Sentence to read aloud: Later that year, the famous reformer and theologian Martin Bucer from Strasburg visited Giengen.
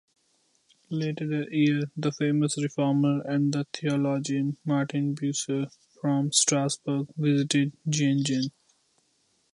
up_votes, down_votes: 0, 2